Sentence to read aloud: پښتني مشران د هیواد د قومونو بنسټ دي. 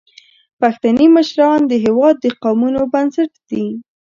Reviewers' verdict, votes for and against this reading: accepted, 2, 0